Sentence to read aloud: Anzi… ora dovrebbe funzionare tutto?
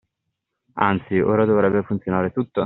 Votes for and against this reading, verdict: 2, 1, accepted